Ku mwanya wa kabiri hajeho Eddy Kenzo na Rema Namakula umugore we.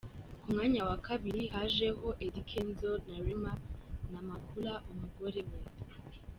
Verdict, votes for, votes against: accepted, 2, 1